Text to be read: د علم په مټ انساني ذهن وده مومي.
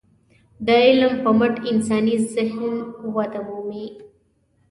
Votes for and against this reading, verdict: 2, 0, accepted